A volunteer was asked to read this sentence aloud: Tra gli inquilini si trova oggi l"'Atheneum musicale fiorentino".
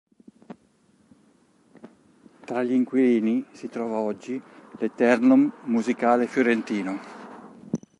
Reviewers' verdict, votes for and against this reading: rejected, 1, 3